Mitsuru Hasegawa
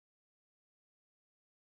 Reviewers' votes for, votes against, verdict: 0, 2, rejected